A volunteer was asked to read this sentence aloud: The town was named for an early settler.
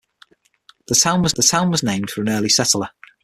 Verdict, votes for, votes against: rejected, 0, 6